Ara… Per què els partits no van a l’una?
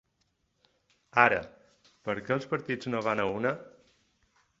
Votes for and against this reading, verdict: 2, 4, rejected